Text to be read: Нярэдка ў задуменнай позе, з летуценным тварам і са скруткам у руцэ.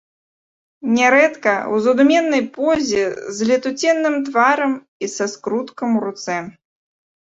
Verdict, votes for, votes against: accepted, 3, 0